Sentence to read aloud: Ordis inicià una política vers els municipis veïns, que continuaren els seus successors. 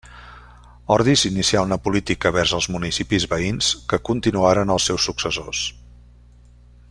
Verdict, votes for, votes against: rejected, 1, 2